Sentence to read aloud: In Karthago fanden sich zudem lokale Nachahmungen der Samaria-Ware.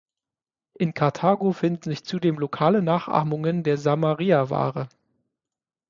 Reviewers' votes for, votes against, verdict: 0, 6, rejected